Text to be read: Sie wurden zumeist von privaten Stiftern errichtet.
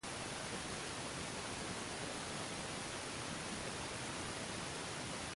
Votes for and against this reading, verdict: 0, 2, rejected